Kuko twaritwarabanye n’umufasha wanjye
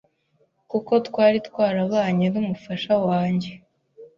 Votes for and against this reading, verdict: 2, 0, accepted